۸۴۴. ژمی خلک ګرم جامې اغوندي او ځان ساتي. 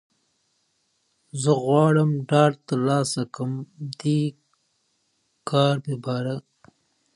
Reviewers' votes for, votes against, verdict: 0, 2, rejected